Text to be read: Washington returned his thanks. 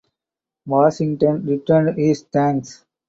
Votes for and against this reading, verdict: 4, 0, accepted